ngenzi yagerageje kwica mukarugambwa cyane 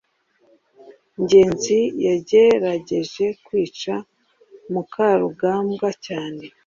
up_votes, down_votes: 2, 0